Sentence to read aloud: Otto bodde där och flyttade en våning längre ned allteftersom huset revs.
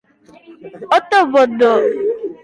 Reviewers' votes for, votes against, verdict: 0, 2, rejected